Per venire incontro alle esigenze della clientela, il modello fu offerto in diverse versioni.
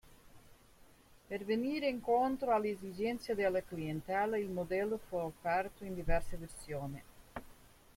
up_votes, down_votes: 2, 0